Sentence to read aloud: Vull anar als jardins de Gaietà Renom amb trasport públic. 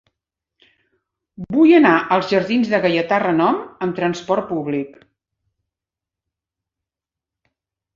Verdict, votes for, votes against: accepted, 7, 0